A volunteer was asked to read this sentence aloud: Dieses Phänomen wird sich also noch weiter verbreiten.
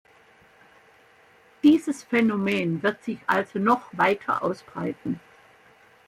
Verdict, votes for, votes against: rejected, 0, 2